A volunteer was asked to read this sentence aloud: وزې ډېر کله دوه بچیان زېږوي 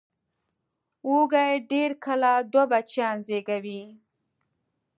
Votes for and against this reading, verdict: 0, 2, rejected